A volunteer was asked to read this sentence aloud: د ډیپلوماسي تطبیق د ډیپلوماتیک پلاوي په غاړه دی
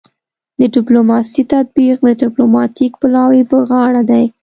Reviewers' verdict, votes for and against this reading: accepted, 2, 0